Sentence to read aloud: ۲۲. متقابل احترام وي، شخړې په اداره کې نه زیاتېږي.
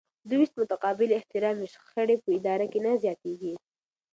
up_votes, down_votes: 0, 2